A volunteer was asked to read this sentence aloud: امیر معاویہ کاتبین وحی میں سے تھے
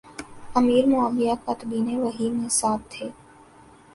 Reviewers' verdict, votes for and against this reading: accepted, 2, 0